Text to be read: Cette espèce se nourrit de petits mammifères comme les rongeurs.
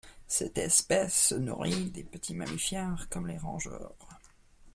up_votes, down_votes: 2, 0